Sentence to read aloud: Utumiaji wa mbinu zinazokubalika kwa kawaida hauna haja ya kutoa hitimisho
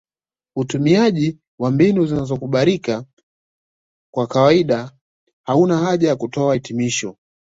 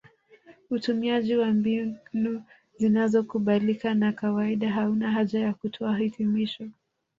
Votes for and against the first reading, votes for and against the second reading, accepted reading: 2, 1, 1, 2, first